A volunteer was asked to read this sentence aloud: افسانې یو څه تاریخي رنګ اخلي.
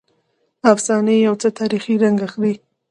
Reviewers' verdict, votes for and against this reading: accepted, 2, 0